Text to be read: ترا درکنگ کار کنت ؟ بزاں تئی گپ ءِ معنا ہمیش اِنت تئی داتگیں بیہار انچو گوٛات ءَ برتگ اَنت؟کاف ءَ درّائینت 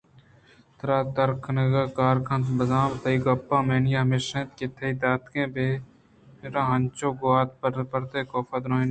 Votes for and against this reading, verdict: 2, 0, accepted